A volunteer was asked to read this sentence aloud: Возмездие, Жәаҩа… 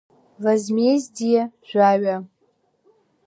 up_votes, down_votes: 2, 0